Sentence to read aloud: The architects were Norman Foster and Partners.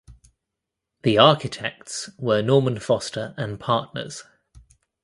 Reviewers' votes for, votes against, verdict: 2, 0, accepted